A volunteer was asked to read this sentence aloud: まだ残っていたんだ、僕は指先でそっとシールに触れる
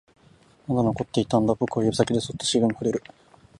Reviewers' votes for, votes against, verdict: 1, 3, rejected